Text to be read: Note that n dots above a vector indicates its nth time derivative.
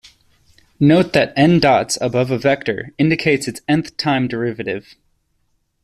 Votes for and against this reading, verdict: 2, 0, accepted